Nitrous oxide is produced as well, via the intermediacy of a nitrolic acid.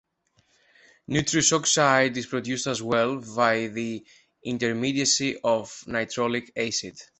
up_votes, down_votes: 1, 2